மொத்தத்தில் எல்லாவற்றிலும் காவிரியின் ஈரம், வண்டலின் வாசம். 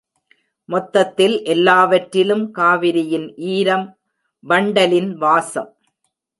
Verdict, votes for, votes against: accepted, 4, 0